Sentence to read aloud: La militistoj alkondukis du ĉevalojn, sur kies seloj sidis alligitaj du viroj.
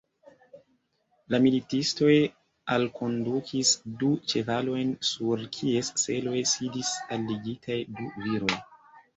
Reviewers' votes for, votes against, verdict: 0, 2, rejected